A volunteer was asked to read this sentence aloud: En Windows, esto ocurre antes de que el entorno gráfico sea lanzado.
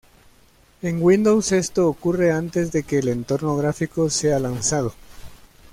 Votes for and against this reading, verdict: 2, 0, accepted